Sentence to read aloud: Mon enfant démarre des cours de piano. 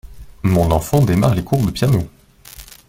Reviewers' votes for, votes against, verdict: 2, 1, accepted